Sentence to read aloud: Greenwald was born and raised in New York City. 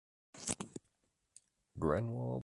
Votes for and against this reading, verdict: 0, 2, rejected